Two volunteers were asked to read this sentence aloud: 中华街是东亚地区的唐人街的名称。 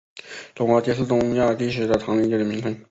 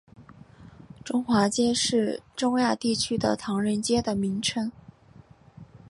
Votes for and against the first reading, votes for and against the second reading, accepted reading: 0, 3, 2, 0, second